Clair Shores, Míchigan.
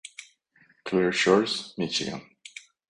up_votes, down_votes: 2, 0